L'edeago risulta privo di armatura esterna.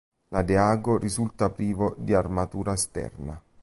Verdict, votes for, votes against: rejected, 1, 2